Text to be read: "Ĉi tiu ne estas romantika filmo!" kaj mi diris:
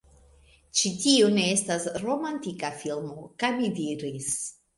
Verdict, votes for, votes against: accepted, 2, 0